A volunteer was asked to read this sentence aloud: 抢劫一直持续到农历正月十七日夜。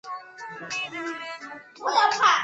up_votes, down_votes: 0, 3